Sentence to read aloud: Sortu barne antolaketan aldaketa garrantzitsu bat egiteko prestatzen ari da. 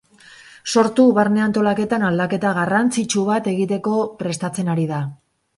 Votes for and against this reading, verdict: 0, 2, rejected